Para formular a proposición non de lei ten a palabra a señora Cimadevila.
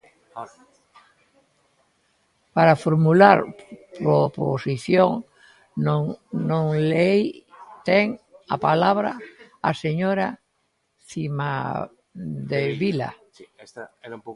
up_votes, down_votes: 0, 2